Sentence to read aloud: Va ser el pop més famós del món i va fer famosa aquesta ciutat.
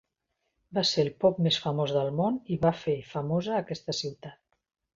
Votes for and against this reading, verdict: 3, 0, accepted